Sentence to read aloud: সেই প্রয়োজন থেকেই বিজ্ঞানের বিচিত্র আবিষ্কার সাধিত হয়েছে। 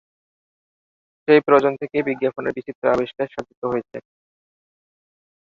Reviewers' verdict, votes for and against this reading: rejected, 1, 2